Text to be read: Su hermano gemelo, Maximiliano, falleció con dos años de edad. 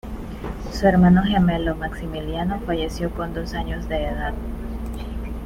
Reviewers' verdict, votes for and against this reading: accepted, 2, 1